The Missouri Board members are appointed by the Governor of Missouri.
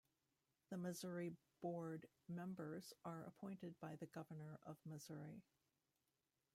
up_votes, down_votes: 1, 2